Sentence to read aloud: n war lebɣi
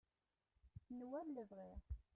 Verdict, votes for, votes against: rejected, 1, 2